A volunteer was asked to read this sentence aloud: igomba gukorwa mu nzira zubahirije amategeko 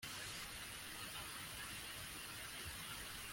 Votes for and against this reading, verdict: 0, 2, rejected